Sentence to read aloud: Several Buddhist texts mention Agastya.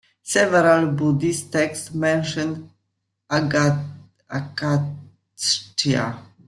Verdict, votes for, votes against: rejected, 1, 2